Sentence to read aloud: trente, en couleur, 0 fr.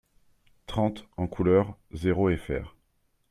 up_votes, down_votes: 0, 2